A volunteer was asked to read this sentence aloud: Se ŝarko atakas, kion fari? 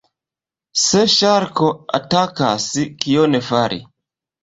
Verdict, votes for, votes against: rejected, 1, 2